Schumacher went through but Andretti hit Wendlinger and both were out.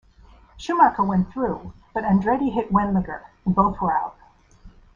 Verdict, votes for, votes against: accepted, 2, 1